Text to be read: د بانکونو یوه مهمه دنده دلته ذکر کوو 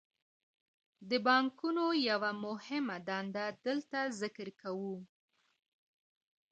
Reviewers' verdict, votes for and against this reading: rejected, 0, 2